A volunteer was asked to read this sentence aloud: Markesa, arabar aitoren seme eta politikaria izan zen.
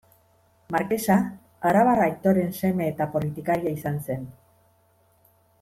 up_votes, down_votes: 1, 2